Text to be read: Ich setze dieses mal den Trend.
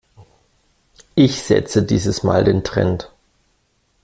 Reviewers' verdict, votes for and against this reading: accepted, 2, 0